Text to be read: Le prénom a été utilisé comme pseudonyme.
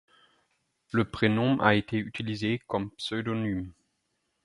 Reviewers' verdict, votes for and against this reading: rejected, 2, 4